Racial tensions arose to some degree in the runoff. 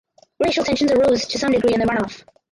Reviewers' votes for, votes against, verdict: 0, 4, rejected